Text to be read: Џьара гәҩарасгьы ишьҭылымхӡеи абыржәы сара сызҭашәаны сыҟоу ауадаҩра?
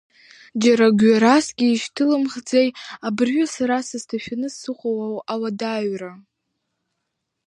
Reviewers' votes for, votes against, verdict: 1, 2, rejected